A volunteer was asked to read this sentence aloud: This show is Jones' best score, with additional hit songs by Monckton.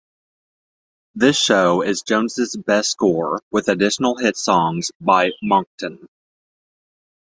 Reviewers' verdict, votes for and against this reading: accepted, 2, 0